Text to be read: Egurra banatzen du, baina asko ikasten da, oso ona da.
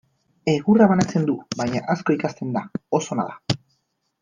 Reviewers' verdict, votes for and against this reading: rejected, 2, 2